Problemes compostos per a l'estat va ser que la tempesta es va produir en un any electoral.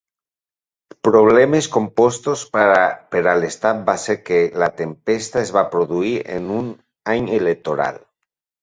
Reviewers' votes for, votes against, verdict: 2, 1, accepted